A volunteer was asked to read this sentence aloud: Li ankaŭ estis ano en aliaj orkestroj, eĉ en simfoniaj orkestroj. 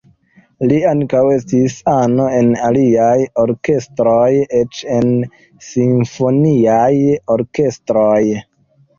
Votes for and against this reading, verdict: 2, 0, accepted